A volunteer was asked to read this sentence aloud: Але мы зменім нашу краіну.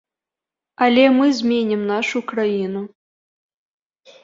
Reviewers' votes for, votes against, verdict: 2, 0, accepted